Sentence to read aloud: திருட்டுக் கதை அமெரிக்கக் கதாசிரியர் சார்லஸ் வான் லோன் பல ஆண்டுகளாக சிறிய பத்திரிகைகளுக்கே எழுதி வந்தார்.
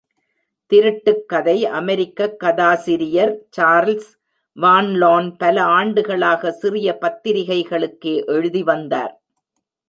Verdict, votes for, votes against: accepted, 2, 0